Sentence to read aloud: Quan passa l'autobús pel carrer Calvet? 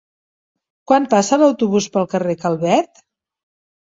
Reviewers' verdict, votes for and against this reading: accepted, 2, 0